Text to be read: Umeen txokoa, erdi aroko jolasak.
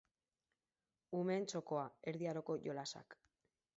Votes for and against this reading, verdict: 4, 0, accepted